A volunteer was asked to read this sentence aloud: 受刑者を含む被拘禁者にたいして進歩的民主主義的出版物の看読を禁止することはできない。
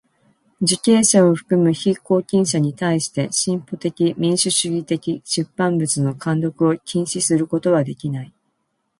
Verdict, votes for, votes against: accepted, 2, 0